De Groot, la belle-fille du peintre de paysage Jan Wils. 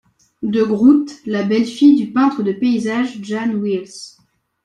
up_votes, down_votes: 2, 0